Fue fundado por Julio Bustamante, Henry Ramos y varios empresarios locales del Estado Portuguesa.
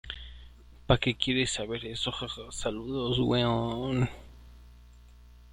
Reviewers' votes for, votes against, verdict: 0, 2, rejected